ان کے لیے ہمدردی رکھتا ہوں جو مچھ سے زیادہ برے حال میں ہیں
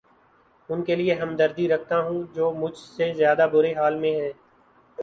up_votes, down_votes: 2, 2